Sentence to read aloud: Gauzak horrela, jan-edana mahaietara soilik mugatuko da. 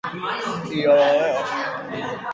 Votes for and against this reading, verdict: 0, 2, rejected